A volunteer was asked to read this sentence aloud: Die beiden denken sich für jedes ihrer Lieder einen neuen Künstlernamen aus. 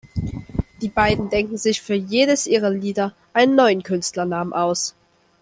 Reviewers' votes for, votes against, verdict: 2, 0, accepted